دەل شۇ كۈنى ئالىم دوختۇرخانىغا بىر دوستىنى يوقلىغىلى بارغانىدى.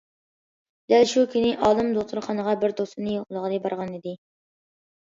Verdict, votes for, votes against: accepted, 2, 0